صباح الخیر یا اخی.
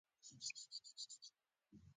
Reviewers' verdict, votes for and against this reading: accepted, 2, 1